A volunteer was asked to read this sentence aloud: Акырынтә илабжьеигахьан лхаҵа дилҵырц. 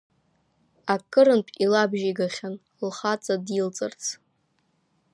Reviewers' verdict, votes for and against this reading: accepted, 2, 0